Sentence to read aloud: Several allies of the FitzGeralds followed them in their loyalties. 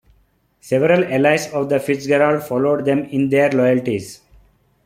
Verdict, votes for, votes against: accepted, 2, 0